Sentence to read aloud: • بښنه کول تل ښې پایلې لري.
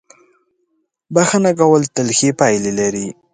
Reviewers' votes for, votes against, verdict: 2, 0, accepted